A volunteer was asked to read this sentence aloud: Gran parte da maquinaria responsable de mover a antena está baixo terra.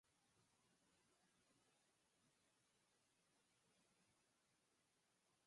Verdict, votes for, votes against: rejected, 0, 4